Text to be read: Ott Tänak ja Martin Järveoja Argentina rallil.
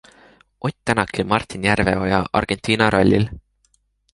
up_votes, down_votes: 3, 0